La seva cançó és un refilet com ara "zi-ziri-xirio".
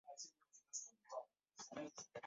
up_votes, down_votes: 0, 2